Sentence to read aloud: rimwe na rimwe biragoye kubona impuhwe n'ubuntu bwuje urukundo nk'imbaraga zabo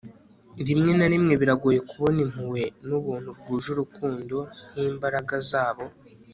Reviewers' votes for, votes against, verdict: 2, 0, accepted